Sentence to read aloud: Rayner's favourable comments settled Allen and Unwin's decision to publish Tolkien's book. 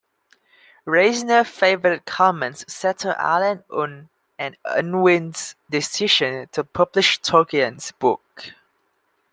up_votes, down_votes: 0, 2